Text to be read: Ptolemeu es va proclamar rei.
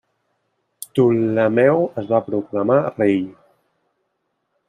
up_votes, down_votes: 1, 2